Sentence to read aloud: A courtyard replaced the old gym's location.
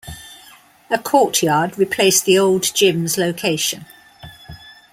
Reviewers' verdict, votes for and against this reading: accepted, 2, 1